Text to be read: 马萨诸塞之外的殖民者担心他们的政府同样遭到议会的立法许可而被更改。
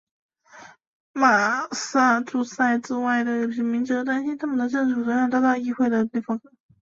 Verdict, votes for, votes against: rejected, 0, 2